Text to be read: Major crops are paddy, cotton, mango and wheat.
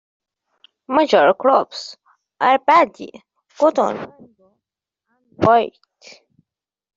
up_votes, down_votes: 0, 2